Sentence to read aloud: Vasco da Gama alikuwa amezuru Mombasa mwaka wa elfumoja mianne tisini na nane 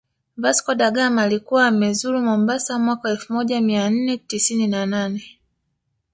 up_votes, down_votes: 0, 2